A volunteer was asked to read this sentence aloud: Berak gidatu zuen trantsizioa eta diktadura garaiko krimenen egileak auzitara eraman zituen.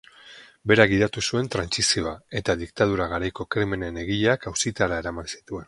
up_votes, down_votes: 4, 0